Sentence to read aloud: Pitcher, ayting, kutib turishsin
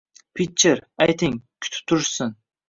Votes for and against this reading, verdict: 2, 0, accepted